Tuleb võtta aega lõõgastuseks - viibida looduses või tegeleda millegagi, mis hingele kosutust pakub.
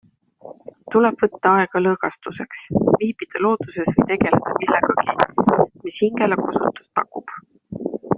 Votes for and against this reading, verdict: 2, 0, accepted